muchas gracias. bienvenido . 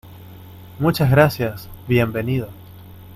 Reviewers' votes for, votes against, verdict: 2, 0, accepted